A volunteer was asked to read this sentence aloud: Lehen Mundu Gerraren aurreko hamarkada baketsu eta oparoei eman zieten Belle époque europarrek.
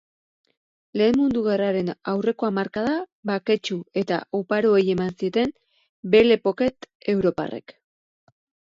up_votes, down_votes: 2, 2